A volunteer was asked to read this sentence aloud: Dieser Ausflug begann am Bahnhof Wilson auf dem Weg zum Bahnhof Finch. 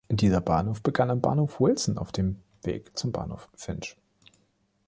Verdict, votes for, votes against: rejected, 0, 3